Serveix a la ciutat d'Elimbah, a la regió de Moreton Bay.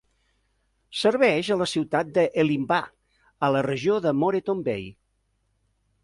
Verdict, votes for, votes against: accepted, 2, 1